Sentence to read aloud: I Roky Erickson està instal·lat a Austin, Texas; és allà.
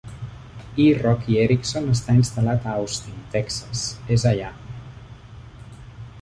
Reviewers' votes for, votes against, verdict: 2, 0, accepted